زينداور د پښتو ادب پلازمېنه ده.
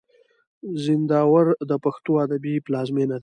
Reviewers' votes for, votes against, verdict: 1, 2, rejected